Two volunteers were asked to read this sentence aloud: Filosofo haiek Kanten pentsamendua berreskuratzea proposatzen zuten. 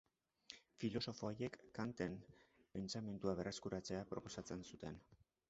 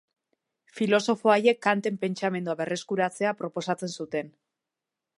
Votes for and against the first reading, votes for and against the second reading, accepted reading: 1, 2, 3, 0, second